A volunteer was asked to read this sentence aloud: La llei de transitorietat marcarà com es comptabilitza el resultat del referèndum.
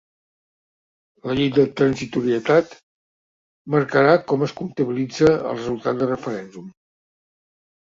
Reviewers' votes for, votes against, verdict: 2, 0, accepted